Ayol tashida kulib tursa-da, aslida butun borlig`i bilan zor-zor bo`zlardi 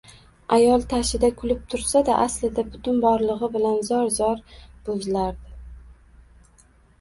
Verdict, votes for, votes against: accepted, 2, 1